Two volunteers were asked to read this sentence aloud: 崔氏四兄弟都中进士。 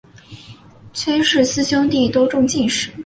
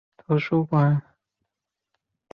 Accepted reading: first